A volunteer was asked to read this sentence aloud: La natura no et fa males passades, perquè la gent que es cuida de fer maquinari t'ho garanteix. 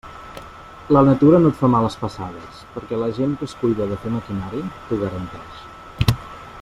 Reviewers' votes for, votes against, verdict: 2, 0, accepted